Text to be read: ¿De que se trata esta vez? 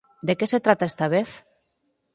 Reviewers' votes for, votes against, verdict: 4, 0, accepted